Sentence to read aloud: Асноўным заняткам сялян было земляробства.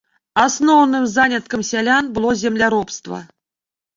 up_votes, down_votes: 1, 2